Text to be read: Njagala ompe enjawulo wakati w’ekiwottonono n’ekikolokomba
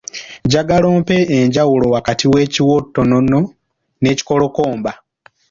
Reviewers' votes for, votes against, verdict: 2, 0, accepted